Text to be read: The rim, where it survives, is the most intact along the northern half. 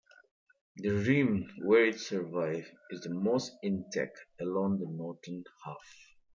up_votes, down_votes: 2, 1